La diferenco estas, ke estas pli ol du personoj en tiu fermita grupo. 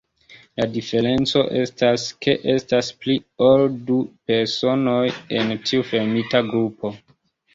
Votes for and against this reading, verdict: 2, 1, accepted